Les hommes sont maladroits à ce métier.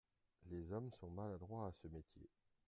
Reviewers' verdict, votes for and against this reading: accepted, 2, 0